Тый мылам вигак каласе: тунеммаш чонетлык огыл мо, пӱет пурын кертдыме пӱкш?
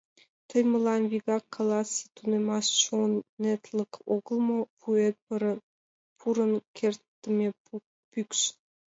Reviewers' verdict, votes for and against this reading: rejected, 1, 2